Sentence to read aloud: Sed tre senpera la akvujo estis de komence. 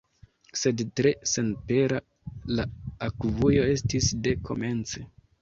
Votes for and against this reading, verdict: 1, 2, rejected